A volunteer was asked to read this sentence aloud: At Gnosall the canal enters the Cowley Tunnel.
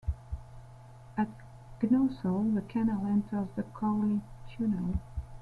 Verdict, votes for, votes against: accepted, 2, 1